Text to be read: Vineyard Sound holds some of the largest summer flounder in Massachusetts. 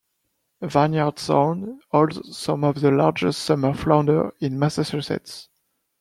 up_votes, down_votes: 2, 1